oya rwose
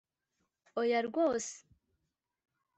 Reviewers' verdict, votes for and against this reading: accepted, 3, 0